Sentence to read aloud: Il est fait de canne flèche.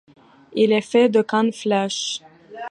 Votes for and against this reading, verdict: 2, 0, accepted